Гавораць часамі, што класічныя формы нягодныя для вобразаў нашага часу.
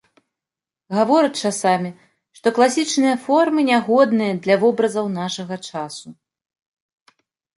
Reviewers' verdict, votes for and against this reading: accepted, 3, 0